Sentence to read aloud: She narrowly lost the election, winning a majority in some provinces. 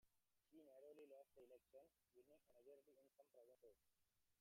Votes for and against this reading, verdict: 1, 2, rejected